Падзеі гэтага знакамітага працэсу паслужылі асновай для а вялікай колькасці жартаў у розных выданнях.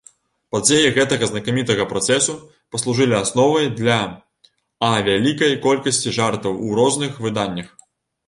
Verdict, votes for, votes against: rejected, 1, 2